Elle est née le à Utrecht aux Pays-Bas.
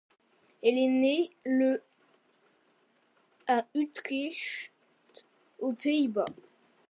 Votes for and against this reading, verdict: 1, 2, rejected